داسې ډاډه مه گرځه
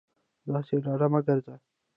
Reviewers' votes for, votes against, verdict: 1, 2, rejected